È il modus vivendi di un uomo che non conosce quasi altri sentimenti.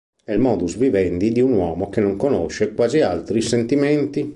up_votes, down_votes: 2, 0